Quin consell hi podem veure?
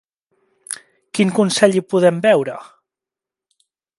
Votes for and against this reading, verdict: 2, 0, accepted